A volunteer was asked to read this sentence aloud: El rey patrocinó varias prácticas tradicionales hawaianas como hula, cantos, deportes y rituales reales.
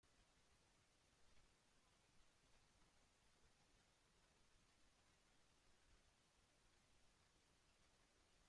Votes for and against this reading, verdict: 0, 2, rejected